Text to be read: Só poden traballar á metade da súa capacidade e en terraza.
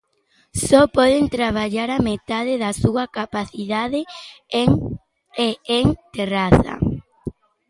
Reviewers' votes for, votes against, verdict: 0, 2, rejected